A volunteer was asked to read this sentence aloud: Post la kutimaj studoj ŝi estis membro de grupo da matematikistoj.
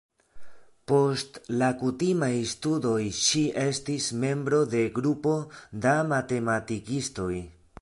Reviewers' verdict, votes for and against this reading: accepted, 2, 0